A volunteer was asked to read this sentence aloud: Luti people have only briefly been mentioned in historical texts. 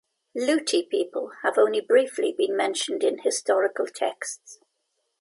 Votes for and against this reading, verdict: 2, 0, accepted